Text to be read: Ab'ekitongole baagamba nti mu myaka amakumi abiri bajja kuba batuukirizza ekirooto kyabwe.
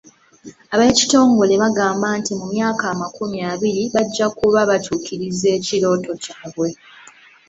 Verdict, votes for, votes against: rejected, 1, 2